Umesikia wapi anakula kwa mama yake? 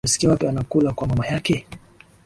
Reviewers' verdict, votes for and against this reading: accepted, 5, 1